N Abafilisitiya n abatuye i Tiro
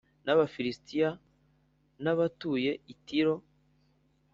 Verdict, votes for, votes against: accepted, 4, 0